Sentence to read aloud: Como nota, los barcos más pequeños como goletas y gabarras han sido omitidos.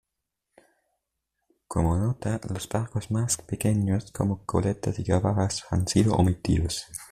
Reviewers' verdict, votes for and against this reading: rejected, 0, 2